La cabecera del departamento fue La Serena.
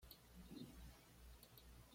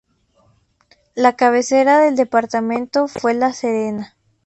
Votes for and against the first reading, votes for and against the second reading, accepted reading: 1, 2, 2, 0, second